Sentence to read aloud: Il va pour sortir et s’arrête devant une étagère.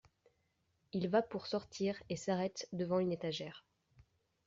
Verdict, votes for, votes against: accepted, 2, 0